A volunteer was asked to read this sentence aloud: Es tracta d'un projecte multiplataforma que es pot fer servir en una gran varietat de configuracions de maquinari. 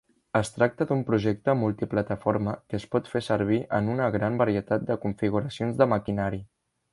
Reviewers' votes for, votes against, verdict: 3, 0, accepted